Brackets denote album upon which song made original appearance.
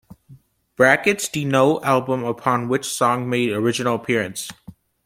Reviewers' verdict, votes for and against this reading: accepted, 2, 0